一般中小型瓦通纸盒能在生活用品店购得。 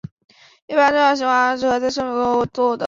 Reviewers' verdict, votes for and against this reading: rejected, 0, 6